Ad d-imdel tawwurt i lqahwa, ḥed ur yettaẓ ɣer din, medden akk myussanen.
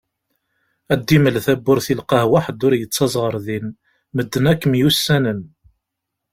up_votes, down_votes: 1, 2